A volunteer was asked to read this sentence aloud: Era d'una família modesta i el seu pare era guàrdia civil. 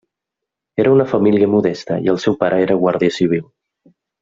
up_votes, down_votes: 0, 2